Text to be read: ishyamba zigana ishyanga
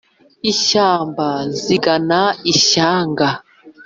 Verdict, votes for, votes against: accepted, 3, 0